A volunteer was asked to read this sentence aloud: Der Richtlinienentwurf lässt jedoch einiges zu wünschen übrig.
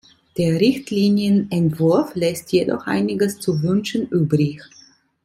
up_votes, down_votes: 2, 0